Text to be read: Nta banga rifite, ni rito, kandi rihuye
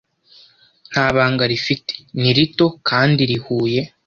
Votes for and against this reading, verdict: 2, 0, accepted